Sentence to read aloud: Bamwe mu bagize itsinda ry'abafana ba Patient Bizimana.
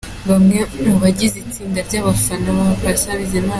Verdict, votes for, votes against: accepted, 2, 0